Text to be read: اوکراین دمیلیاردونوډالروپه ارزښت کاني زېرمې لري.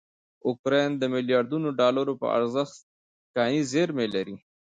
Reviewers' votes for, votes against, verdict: 0, 2, rejected